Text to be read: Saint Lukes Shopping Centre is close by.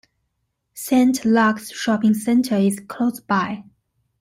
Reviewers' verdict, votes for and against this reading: accepted, 2, 1